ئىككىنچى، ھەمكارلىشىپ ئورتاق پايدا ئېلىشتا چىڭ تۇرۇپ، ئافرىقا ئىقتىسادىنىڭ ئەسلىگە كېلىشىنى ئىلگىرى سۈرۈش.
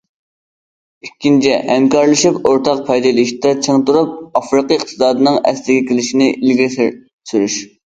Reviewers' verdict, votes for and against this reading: rejected, 0, 2